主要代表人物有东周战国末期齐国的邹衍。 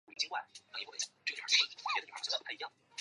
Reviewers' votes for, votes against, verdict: 0, 2, rejected